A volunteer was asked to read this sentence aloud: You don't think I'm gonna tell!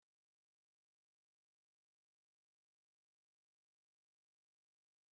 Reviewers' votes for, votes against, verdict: 0, 2, rejected